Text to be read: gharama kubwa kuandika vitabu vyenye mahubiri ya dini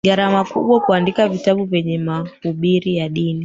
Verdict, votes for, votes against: accepted, 2, 1